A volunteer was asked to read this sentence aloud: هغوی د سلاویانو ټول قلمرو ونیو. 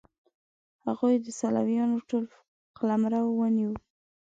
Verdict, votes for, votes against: rejected, 1, 2